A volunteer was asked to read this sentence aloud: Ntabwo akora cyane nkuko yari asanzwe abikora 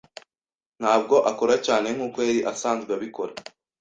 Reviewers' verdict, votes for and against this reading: accepted, 2, 0